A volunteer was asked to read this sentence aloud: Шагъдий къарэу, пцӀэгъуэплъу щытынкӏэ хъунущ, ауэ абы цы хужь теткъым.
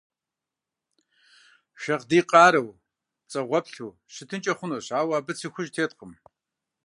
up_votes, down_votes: 2, 0